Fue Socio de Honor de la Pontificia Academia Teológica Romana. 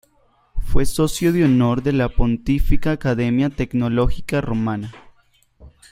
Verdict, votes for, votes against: rejected, 1, 3